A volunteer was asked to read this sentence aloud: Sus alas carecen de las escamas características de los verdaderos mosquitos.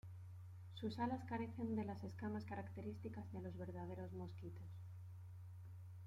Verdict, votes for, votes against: rejected, 1, 2